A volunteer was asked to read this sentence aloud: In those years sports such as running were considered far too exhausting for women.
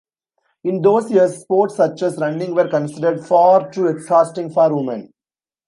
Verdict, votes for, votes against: rejected, 1, 2